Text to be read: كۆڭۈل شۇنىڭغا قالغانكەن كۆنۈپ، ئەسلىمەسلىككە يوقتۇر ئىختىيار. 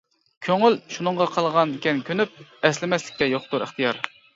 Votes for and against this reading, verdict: 1, 2, rejected